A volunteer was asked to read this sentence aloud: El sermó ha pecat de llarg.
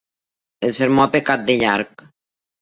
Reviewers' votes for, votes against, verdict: 3, 0, accepted